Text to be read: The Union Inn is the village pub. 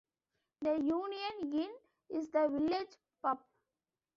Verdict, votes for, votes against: accepted, 2, 1